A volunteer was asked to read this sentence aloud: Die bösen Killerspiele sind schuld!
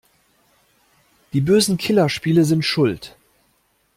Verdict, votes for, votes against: accepted, 2, 0